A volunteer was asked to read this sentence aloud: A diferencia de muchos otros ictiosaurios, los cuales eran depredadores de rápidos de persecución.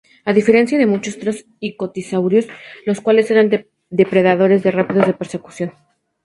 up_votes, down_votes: 0, 2